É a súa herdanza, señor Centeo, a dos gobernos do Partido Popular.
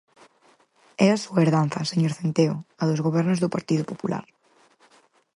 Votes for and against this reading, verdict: 4, 0, accepted